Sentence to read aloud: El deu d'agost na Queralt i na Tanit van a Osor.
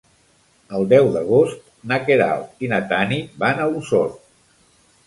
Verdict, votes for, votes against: accepted, 2, 0